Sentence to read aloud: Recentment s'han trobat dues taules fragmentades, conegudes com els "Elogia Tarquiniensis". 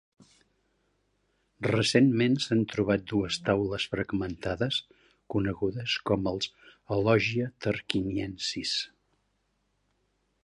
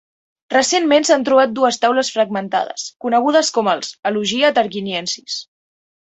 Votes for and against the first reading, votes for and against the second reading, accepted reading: 1, 2, 2, 0, second